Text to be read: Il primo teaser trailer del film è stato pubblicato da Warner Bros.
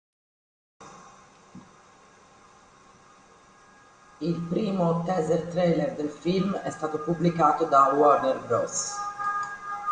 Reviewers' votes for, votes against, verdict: 0, 2, rejected